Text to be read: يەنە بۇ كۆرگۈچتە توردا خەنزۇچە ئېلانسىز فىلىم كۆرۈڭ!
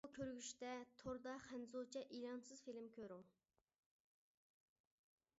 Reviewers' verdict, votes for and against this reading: rejected, 0, 2